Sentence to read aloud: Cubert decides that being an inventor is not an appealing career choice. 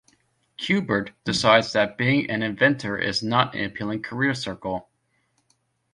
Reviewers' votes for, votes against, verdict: 1, 2, rejected